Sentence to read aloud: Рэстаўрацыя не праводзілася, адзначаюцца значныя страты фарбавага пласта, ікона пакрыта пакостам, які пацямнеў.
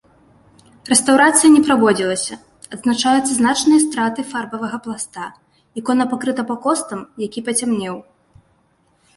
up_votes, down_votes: 2, 0